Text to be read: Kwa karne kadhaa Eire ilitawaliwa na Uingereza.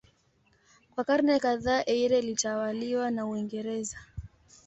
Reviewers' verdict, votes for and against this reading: accepted, 2, 1